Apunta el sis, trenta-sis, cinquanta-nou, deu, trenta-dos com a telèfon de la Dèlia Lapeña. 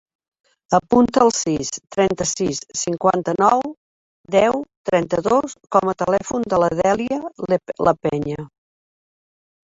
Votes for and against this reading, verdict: 0, 2, rejected